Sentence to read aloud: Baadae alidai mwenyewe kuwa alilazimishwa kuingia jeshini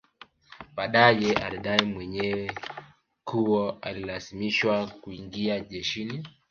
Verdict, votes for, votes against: accepted, 2, 0